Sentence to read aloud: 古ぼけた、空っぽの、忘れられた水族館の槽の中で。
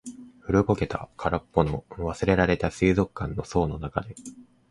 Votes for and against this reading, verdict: 2, 0, accepted